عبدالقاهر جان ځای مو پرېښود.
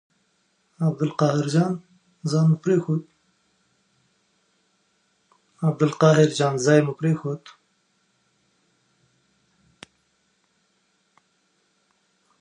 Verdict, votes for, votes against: rejected, 1, 2